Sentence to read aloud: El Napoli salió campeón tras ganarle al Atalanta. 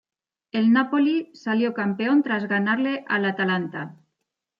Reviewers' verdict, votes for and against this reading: accepted, 2, 0